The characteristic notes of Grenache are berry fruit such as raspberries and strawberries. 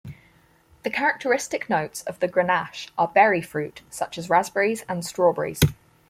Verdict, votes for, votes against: accepted, 4, 0